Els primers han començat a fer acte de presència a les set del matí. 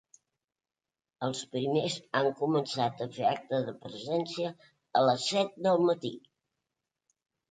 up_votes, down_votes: 3, 0